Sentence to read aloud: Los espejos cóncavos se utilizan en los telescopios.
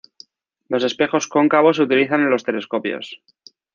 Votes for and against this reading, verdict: 2, 0, accepted